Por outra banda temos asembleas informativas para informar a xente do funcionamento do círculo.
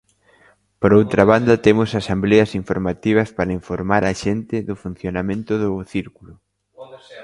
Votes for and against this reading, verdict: 1, 2, rejected